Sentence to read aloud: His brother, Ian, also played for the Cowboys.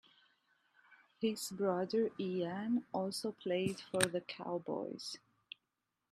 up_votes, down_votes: 2, 0